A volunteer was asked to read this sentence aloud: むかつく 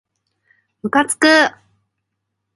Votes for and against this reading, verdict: 3, 0, accepted